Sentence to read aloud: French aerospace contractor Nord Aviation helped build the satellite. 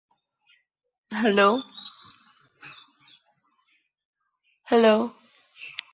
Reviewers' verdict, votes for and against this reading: rejected, 0, 2